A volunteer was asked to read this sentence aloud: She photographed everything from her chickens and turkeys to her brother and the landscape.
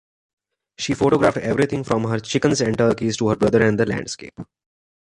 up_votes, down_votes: 3, 0